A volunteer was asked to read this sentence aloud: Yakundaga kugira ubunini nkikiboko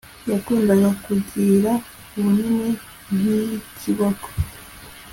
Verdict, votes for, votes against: accepted, 2, 0